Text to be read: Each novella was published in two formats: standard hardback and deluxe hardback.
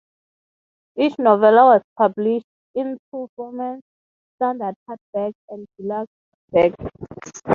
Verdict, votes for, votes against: accepted, 6, 0